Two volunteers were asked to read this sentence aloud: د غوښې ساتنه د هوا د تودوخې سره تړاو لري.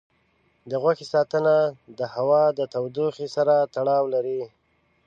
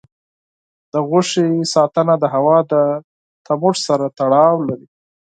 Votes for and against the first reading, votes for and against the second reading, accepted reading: 2, 0, 0, 4, first